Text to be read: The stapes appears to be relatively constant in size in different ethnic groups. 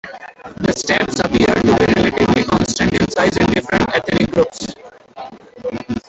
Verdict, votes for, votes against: rejected, 0, 2